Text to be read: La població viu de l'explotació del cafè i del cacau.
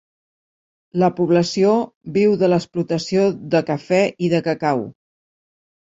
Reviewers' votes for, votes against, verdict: 0, 2, rejected